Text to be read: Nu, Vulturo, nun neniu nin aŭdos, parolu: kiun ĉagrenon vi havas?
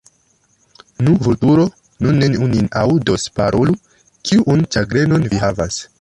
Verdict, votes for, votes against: rejected, 1, 2